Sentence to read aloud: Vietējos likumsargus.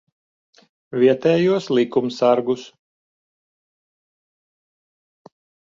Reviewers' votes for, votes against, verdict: 2, 0, accepted